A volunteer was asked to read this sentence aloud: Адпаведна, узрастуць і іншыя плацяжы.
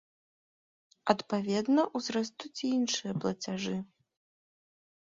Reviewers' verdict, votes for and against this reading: accepted, 2, 0